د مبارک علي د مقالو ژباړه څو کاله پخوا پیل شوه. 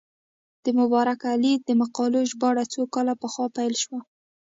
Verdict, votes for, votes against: rejected, 1, 2